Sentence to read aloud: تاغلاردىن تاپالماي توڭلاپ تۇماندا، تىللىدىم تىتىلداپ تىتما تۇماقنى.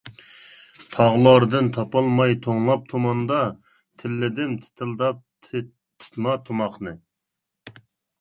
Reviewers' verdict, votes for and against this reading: rejected, 1, 2